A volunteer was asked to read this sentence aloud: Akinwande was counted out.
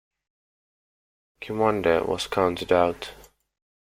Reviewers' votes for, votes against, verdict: 2, 0, accepted